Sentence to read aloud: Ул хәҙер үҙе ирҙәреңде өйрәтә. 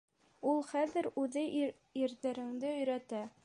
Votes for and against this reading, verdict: 0, 2, rejected